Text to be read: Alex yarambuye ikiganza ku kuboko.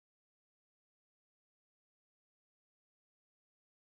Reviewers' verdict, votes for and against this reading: rejected, 1, 2